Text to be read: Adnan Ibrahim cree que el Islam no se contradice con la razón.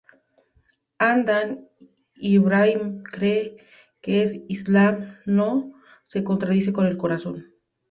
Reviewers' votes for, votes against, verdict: 0, 2, rejected